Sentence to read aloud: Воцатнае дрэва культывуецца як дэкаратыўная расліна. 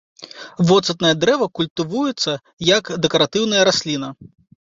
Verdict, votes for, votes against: accepted, 2, 0